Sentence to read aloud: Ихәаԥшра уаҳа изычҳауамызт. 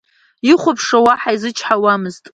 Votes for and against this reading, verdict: 0, 2, rejected